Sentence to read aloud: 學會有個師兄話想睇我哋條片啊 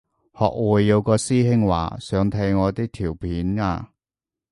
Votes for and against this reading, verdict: 0, 2, rejected